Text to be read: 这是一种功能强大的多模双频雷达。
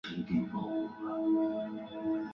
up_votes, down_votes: 0, 3